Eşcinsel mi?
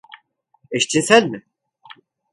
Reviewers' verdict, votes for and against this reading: accepted, 2, 0